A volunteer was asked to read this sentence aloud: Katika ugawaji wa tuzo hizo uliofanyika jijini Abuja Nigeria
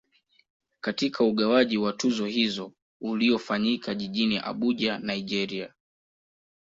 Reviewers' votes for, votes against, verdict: 2, 0, accepted